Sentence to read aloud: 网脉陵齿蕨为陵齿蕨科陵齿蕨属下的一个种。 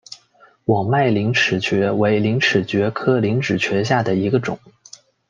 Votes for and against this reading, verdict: 2, 0, accepted